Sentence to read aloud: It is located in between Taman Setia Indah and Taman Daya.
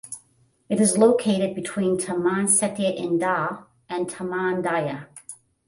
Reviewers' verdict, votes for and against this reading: rejected, 0, 5